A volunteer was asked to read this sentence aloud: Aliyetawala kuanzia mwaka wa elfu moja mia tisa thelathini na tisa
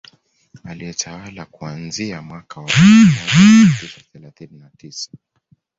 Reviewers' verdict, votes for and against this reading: accepted, 2, 1